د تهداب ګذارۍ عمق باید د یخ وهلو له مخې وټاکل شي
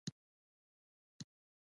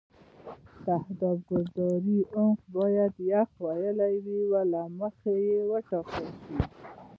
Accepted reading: first